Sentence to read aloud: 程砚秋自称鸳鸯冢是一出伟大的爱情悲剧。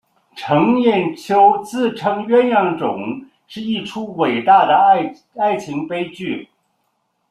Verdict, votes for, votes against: rejected, 1, 2